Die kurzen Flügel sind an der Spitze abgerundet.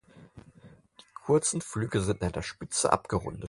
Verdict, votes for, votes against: accepted, 4, 2